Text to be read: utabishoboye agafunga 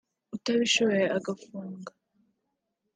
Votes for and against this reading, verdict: 1, 2, rejected